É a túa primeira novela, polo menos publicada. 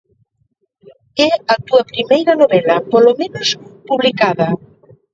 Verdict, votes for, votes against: accepted, 2, 1